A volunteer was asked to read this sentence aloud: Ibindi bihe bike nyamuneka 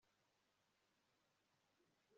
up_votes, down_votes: 2, 0